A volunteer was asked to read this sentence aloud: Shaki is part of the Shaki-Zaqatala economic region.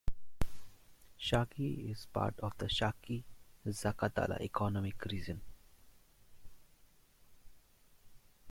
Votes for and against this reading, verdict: 1, 2, rejected